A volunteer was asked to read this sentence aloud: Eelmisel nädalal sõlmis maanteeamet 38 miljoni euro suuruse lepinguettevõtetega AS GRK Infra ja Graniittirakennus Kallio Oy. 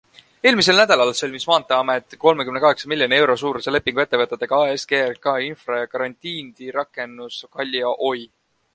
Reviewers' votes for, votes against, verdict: 0, 2, rejected